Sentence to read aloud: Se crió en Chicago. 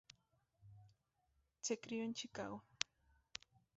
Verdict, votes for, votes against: rejected, 0, 2